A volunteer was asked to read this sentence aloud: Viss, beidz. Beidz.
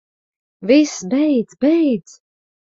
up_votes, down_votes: 2, 0